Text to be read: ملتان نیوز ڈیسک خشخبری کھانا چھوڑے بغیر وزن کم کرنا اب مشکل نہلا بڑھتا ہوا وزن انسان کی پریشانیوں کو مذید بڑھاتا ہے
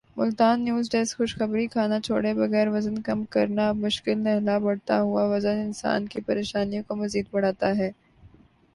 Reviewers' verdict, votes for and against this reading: accepted, 3, 0